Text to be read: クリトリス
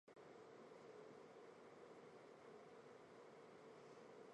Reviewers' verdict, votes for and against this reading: rejected, 0, 2